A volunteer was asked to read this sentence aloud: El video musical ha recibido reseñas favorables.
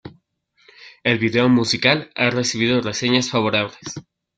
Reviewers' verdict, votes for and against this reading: accepted, 2, 1